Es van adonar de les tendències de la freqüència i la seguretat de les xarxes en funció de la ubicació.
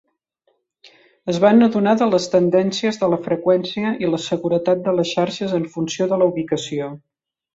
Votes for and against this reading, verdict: 3, 0, accepted